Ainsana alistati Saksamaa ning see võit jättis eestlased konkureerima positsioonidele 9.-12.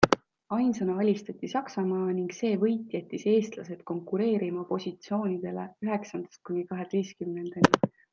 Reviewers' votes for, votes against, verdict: 0, 2, rejected